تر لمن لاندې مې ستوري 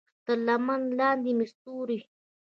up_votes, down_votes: 1, 2